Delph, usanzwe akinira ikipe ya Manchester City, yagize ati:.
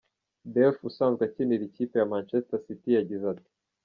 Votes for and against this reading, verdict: 2, 0, accepted